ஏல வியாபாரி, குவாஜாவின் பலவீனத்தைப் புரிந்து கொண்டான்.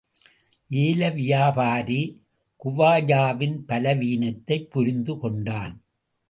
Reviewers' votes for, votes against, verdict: 2, 0, accepted